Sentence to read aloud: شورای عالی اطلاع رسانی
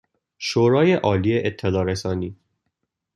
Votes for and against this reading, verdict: 2, 0, accepted